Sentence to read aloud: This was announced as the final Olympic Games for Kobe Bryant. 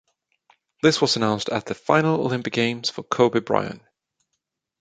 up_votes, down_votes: 2, 1